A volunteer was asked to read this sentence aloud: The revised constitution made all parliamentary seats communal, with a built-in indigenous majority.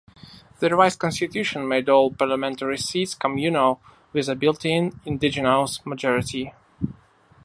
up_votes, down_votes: 1, 2